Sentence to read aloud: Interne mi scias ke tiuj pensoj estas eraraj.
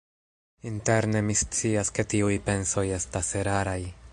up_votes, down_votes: 1, 2